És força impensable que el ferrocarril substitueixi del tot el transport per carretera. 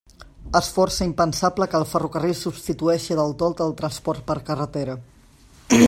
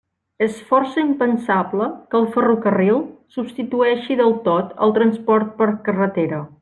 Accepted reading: second